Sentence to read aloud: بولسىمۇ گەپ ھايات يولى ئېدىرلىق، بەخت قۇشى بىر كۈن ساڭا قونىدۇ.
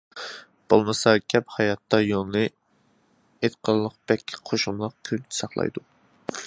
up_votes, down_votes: 0, 2